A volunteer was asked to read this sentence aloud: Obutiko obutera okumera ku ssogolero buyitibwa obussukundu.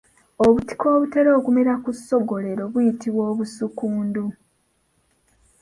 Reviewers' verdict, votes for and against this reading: accepted, 2, 1